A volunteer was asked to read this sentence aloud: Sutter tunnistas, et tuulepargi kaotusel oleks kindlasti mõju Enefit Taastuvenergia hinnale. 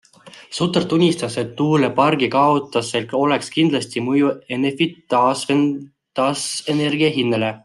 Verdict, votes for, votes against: accepted, 2, 1